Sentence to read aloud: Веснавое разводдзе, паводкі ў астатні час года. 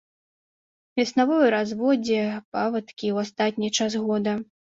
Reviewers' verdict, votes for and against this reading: rejected, 0, 2